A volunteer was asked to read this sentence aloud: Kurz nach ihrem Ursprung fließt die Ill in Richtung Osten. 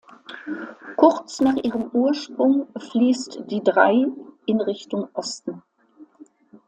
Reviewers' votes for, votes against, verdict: 0, 2, rejected